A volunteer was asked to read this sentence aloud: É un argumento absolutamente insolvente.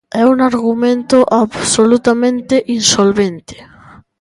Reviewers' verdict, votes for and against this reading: accepted, 2, 0